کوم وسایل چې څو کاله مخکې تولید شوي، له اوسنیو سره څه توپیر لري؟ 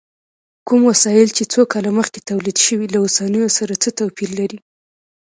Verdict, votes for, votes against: rejected, 1, 2